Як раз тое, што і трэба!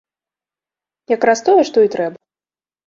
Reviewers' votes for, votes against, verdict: 0, 2, rejected